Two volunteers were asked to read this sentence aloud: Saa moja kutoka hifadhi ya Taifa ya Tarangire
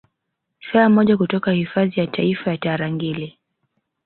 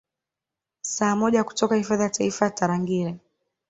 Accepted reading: second